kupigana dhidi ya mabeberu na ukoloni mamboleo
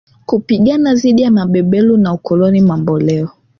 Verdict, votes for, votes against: accepted, 3, 1